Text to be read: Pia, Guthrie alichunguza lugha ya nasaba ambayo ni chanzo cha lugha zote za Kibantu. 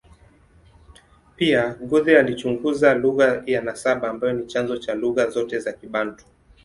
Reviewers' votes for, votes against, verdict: 2, 1, accepted